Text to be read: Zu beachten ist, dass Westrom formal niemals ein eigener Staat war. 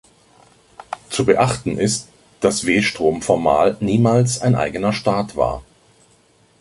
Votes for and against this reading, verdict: 1, 2, rejected